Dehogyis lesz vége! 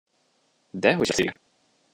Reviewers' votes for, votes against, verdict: 0, 2, rejected